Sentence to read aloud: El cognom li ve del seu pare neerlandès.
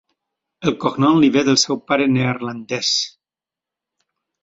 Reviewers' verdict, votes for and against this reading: accepted, 4, 0